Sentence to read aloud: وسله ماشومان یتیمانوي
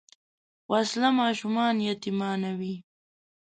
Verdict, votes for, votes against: accepted, 2, 0